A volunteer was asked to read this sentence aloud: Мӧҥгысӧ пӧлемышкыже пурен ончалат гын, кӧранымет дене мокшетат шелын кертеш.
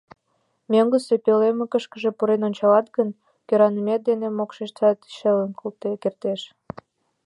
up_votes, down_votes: 1, 2